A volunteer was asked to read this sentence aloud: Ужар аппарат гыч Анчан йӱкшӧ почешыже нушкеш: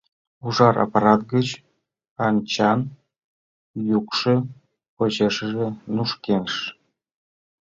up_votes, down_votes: 0, 2